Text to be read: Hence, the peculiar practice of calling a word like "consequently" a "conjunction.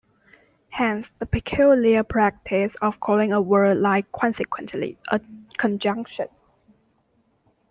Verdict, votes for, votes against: rejected, 1, 2